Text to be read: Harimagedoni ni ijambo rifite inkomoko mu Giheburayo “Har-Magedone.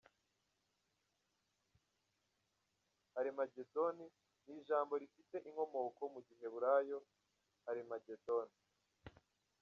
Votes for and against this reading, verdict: 0, 2, rejected